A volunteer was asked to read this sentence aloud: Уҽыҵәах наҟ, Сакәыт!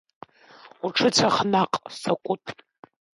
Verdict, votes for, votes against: rejected, 0, 2